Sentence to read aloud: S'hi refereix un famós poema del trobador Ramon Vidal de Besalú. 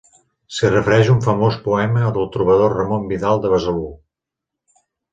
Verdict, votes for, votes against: accepted, 4, 0